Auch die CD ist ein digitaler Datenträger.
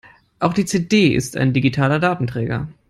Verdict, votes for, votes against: accepted, 3, 0